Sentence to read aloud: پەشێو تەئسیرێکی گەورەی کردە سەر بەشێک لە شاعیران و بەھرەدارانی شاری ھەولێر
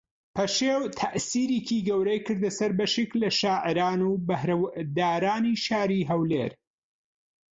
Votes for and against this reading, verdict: 0, 2, rejected